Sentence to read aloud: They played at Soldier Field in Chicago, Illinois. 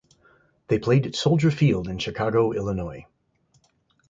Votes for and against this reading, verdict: 2, 2, rejected